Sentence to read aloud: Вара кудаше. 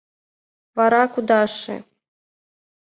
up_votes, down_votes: 2, 0